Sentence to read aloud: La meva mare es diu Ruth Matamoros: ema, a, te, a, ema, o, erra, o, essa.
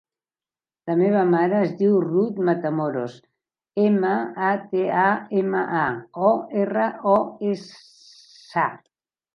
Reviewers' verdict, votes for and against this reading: rejected, 0, 2